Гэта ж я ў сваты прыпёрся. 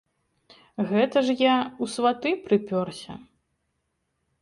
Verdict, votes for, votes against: rejected, 1, 2